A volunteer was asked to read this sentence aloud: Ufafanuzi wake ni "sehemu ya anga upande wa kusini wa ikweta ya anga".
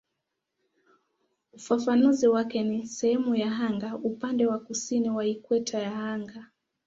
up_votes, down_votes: 3, 0